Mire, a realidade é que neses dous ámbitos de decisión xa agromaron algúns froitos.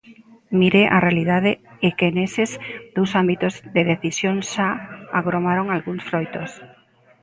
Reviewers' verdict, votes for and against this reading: accepted, 2, 0